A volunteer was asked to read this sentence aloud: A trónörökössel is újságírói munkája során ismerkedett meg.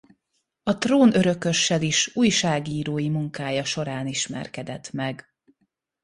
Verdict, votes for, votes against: accepted, 2, 0